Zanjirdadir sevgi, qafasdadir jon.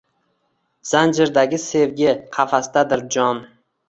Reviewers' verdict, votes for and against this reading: rejected, 0, 2